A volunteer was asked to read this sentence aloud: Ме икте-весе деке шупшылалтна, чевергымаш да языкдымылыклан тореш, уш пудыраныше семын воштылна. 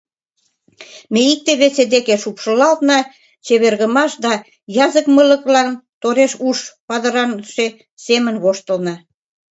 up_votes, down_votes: 1, 2